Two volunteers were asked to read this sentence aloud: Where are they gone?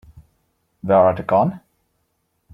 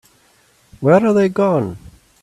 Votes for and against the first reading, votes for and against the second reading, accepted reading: 0, 2, 2, 0, second